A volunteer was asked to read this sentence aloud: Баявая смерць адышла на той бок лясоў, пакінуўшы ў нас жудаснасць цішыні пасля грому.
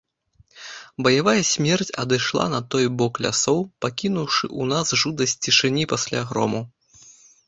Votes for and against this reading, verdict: 0, 2, rejected